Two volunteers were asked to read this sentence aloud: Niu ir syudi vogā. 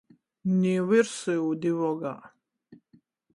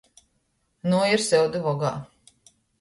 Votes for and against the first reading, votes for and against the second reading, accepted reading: 14, 0, 1, 2, first